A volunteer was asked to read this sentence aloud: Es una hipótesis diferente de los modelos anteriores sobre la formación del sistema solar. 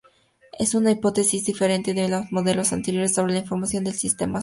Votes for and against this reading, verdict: 2, 0, accepted